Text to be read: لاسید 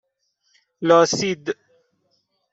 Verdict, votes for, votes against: accepted, 2, 0